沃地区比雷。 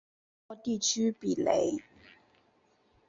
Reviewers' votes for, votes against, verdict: 5, 1, accepted